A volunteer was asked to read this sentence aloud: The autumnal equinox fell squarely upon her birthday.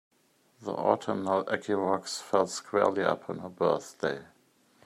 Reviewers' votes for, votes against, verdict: 2, 0, accepted